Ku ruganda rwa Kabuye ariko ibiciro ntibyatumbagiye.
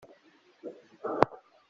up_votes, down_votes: 0, 2